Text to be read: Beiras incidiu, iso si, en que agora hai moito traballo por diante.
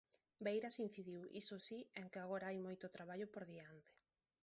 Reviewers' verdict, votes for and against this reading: rejected, 1, 2